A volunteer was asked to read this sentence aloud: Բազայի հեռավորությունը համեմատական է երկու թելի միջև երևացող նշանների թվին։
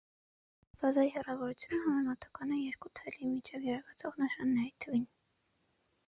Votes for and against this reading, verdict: 0, 6, rejected